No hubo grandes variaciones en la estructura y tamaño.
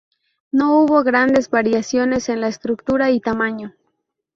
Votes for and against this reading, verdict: 0, 2, rejected